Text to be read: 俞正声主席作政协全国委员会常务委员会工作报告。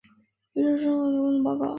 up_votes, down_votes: 0, 2